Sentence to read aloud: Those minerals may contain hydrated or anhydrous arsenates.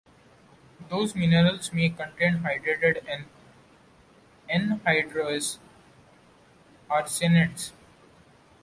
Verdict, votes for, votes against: rejected, 1, 2